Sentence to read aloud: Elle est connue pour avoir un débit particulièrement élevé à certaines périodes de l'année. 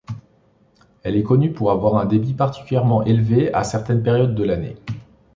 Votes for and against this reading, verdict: 2, 0, accepted